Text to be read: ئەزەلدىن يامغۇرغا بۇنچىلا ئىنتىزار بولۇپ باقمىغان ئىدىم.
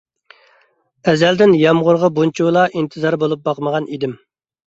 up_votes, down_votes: 3, 0